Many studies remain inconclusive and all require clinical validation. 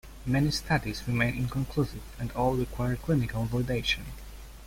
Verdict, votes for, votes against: accepted, 2, 0